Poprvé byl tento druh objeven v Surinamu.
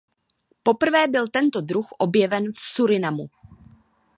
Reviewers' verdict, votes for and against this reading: accepted, 3, 0